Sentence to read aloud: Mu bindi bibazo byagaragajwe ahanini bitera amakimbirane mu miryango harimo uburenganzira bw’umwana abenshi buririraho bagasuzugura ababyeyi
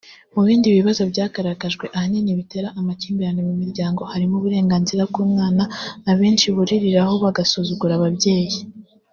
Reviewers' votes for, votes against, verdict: 2, 0, accepted